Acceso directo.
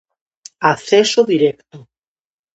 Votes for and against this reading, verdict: 2, 0, accepted